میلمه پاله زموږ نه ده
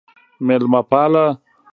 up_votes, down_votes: 1, 2